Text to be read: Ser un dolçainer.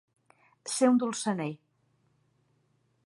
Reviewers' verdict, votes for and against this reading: rejected, 0, 2